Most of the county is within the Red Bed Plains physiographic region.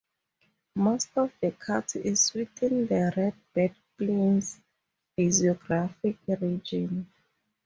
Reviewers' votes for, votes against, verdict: 0, 2, rejected